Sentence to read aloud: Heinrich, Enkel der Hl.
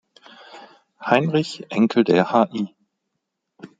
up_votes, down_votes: 1, 2